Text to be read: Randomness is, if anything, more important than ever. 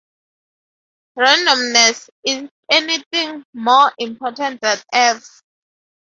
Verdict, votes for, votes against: rejected, 0, 4